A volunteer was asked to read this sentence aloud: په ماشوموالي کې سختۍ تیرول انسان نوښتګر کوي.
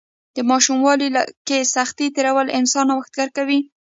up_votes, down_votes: 0, 2